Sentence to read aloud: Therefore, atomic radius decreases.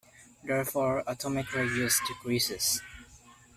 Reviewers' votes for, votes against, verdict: 2, 0, accepted